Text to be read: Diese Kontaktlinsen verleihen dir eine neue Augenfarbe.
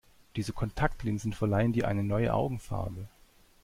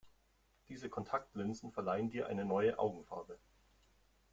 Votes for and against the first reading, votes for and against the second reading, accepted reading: 2, 0, 2, 3, first